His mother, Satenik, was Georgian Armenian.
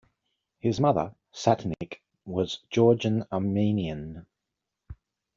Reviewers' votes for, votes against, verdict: 2, 0, accepted